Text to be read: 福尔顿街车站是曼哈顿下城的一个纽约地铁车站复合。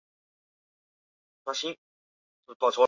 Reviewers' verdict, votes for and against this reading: rejected, 0, 3